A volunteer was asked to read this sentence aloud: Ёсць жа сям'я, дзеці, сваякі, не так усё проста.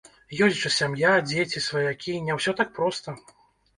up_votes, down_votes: 1, 2